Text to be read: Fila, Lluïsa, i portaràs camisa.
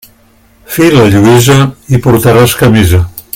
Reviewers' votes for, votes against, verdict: 2, 0, accepted